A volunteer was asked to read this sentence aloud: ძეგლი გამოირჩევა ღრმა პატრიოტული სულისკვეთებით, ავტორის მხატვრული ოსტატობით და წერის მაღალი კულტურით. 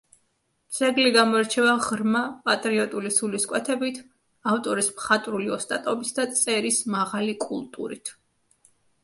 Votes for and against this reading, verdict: 2, 1, accepted